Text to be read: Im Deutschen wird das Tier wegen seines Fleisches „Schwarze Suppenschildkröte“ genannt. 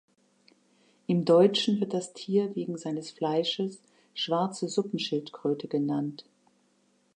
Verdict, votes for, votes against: accepted, 2, 0